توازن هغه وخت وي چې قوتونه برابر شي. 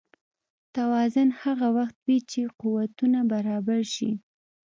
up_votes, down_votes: 2, 0